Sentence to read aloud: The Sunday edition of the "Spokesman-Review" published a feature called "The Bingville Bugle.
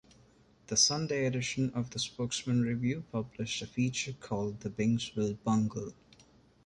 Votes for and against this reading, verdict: 0, 2, rejected